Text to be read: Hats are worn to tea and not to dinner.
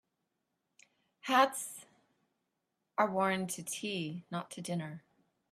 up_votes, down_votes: 0, 2